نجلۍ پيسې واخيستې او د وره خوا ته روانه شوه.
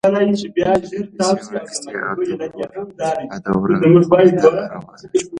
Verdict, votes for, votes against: rejected, 1, 2